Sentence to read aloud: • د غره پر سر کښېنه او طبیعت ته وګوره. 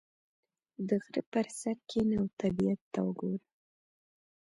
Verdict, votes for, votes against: accepted, 2, 0